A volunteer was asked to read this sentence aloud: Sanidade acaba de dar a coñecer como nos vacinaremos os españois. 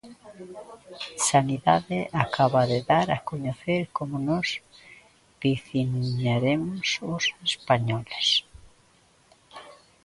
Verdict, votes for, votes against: rejected, 0, 2